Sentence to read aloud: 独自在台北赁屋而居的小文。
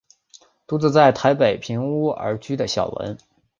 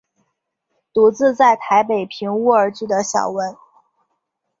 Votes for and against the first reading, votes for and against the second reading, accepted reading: 7, 0, 1, 2, first